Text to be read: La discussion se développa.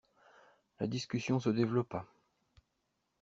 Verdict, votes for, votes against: accepted, 2, 0